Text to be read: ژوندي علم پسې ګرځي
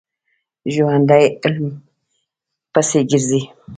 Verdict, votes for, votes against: rejected, 0, 2